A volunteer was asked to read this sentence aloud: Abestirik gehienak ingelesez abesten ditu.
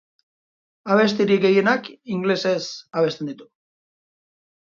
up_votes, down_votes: 1, 4